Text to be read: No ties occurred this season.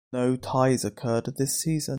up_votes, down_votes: 2, 0